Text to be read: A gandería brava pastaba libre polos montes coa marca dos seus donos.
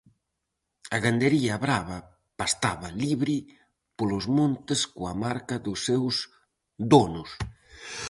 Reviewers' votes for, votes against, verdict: 4, 0, accepted